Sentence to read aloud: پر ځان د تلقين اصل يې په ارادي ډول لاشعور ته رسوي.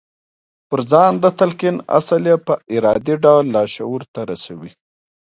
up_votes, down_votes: 2, 0